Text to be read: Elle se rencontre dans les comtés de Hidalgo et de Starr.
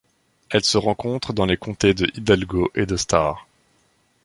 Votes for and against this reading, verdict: 2, 0, accepted